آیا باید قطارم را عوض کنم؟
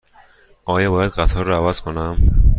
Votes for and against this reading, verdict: 1, 2, rejected